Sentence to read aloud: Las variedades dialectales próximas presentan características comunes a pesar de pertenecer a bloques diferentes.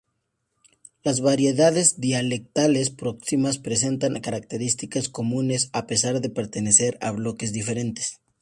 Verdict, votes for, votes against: accepted, 4, 0